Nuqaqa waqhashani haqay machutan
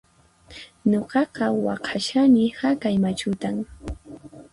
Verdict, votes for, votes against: accepted, 4, 2